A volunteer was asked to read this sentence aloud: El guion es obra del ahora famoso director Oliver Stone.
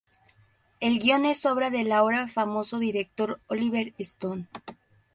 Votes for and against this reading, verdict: 2, 2, rejected